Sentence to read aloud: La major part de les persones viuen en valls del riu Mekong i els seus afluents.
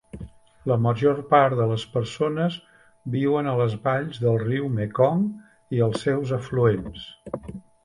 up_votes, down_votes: 0, 2